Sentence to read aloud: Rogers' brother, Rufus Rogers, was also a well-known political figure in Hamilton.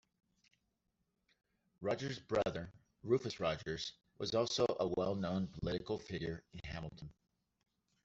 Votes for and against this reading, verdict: 1, 2, rejected